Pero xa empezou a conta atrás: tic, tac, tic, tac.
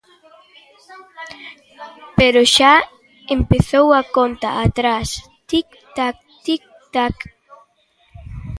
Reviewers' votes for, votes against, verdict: 1, 2, rejected